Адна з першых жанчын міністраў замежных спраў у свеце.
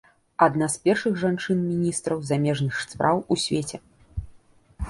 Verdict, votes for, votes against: rejected, 1, 2